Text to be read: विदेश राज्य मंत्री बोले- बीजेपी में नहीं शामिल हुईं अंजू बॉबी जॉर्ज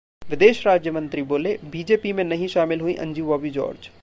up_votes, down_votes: 2, 0